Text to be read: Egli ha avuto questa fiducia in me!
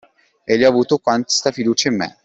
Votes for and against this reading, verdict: 1, 2, rejected